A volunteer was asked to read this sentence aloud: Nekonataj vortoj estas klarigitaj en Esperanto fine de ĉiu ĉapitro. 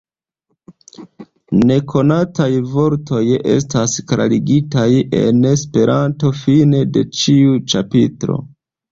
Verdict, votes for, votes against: accepted, 2, 0